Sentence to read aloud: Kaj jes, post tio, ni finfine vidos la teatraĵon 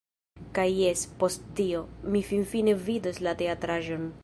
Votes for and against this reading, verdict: 1, 2, rejected